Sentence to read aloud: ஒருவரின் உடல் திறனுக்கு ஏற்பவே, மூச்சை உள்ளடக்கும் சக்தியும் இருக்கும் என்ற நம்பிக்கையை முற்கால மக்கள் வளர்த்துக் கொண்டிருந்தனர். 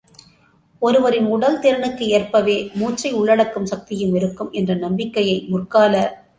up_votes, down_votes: 0, 2